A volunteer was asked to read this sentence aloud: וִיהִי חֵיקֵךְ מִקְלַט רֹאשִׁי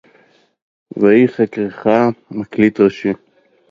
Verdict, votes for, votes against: rejected, 0, 2